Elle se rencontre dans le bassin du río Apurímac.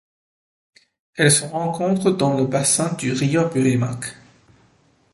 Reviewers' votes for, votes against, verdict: 1, 2, rejected